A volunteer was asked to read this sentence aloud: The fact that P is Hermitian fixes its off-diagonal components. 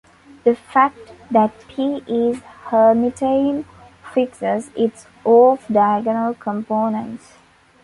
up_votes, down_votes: 1, 2